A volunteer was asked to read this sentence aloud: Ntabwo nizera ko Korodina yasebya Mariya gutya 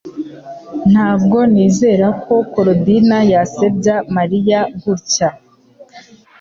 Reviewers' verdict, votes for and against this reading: accepted, 3, 0